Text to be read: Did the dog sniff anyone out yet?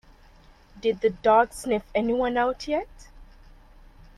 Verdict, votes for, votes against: accepted, 2, 0